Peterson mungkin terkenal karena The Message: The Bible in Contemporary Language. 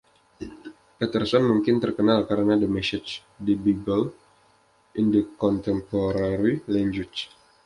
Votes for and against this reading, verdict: 1, 2, rejected